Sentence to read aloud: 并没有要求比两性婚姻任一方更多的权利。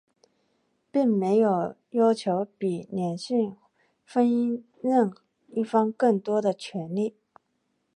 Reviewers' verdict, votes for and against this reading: accepted, 2, 1